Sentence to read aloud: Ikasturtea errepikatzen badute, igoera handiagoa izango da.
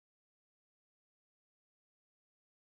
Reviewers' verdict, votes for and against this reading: accepted, 4, 2